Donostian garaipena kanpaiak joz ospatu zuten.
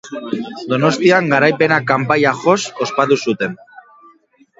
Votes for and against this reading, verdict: 2, 0, accepted